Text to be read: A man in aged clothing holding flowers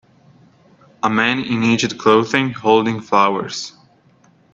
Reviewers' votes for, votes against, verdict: 2, 0, accepted